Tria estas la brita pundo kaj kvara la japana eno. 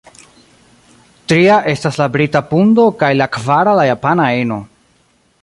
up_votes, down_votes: 0, 2